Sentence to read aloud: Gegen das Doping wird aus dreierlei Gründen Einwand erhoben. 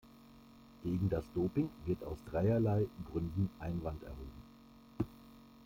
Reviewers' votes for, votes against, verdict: 2, 0, accepted